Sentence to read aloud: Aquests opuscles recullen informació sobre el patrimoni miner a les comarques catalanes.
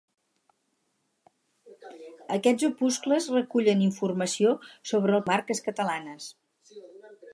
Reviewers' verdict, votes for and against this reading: rejected, 0, 4